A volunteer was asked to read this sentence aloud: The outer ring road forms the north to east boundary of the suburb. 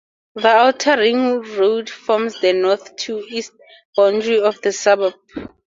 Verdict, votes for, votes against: accepted, 2, 0